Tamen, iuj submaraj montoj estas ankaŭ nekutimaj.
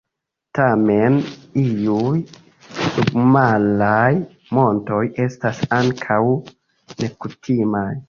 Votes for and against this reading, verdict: 2, 0, accepted